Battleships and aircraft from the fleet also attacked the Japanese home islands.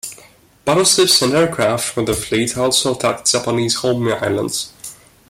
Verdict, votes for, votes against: accepted, 2, 0